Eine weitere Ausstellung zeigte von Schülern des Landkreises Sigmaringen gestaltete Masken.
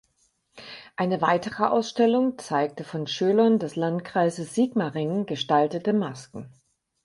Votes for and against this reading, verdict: 4, 0, accepted